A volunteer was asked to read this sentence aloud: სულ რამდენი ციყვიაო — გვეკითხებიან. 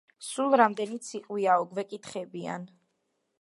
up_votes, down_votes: 2, 0